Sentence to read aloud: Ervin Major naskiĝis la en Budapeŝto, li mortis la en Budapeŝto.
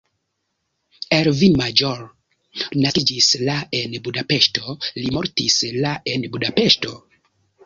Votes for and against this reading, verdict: 1, 2, rejected